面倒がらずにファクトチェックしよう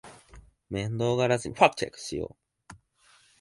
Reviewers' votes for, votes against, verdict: 0, 2, rejected